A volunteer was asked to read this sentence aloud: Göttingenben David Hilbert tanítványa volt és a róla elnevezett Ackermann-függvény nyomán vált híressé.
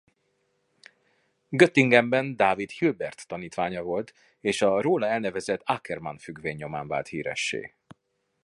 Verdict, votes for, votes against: accepted, 2, 0